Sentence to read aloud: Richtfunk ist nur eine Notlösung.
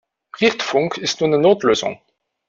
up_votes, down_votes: 0, 2